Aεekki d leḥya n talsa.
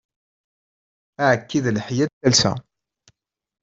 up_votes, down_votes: 2, 1